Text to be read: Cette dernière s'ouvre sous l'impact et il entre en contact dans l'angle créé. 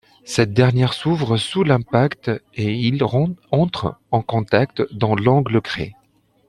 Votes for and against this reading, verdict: 1, 2, rejected